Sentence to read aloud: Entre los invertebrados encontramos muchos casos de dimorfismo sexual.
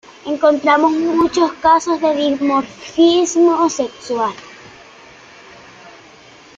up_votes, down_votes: 0, 2